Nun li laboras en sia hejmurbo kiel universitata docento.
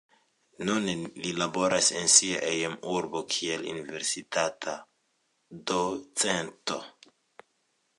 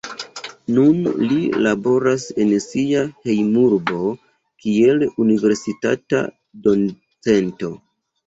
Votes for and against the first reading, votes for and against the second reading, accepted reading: 2, 0, 1, 2, first